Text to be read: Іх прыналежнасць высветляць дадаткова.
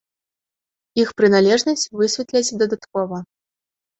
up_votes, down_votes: 2, 0